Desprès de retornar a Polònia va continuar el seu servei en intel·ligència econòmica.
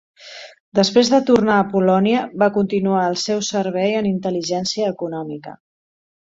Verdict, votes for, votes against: rejected, 0, 2